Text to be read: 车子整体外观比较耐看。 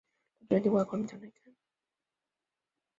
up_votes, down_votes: 0, 2